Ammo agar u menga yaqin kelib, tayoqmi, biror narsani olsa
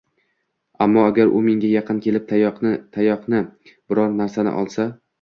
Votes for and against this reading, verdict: 0, 2, rejected